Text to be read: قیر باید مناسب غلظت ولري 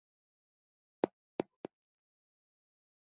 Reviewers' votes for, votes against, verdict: 0, 2, rejected